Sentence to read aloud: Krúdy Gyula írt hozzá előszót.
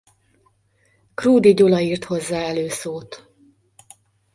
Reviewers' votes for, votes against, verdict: 2, 0, accepted